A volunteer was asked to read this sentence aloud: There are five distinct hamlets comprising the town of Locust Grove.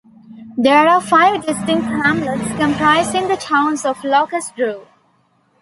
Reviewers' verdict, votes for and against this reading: accepted, 2, 0